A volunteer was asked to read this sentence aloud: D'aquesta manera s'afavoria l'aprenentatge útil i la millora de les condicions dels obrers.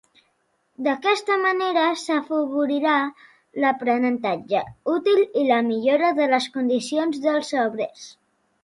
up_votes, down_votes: 1, 2